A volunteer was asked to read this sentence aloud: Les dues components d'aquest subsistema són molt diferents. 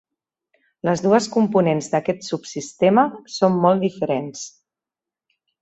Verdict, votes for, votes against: accepted, 3, 0